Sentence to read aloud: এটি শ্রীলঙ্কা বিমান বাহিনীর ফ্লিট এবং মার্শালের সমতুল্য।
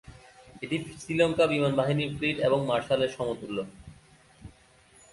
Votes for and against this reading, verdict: 4, 0, accepted